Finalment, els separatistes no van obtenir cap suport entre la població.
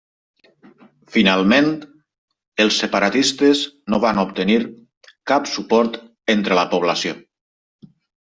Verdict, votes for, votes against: accepted, 3, 0